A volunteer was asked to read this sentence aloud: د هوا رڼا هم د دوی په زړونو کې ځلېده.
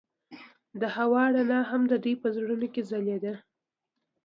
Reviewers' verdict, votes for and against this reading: accepted, 2, 0